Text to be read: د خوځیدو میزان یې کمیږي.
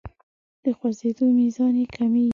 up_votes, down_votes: 1, 2